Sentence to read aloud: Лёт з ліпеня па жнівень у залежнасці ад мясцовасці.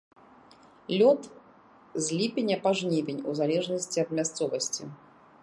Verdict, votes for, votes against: accepted, 3, 0